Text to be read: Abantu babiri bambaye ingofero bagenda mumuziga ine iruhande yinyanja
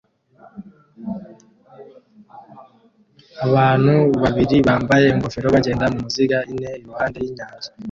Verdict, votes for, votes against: rejected, 1, 2